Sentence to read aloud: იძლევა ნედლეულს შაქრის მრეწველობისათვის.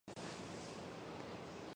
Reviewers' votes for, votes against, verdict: 0, 2, rejected